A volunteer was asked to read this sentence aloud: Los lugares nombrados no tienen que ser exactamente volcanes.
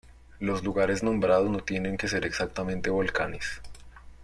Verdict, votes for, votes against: accepted, 2, 1